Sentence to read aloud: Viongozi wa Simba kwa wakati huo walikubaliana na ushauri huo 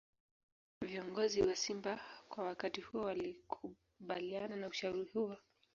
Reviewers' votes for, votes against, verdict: 1, 2, rejected